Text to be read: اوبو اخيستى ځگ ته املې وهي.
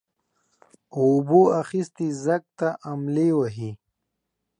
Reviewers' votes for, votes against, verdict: 2, 0, accepted